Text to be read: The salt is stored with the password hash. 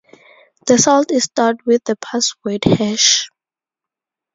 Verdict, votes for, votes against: accepted, 4, 0